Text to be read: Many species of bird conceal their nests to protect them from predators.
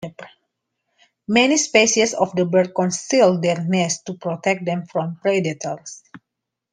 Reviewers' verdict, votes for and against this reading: rejected, 0, 2